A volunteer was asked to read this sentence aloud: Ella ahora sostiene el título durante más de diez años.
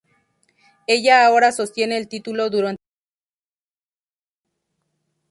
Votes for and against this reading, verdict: 0, 2, rejected